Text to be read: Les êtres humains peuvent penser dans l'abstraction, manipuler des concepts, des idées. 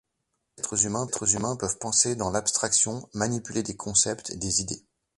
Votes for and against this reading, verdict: 1, 2, rejected